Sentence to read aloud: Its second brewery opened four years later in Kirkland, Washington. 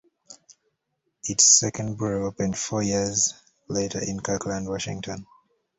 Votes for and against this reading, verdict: 1, 2, rejected